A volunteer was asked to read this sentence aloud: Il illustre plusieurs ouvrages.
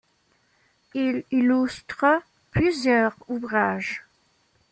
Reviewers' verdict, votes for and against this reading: rejected, 1, 2